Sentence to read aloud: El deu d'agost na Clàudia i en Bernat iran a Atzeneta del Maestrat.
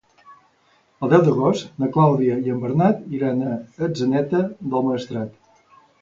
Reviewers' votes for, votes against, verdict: 2, 0, accepted